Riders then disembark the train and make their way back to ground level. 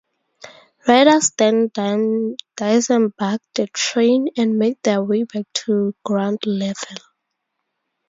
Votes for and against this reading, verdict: 0, 2, rejected